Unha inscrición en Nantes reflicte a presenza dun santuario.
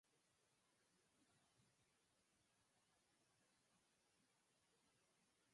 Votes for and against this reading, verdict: 0, 4, rejected